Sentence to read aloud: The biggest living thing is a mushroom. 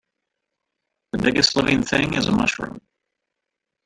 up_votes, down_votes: 1, 2